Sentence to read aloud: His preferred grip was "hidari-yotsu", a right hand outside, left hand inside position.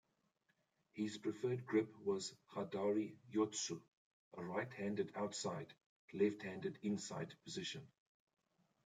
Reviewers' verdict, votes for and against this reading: accepted, 2, 1